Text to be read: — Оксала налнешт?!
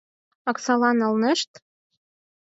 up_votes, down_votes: 4, 0